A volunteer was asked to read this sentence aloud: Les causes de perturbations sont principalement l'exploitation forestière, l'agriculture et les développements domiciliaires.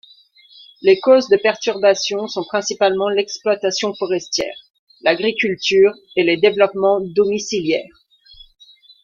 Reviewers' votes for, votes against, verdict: 2, 0, accepted